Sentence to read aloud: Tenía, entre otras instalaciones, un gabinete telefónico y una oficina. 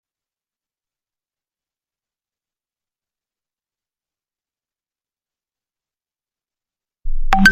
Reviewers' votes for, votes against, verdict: 0, 2, rejected